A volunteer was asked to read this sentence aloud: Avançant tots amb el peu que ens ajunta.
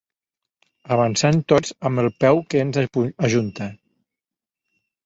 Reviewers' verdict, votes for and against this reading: rejected, 1, 2